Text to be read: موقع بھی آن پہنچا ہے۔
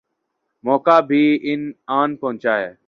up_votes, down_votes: 0, 2